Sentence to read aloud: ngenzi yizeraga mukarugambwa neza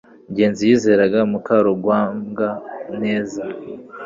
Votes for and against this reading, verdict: 1, 2, rejected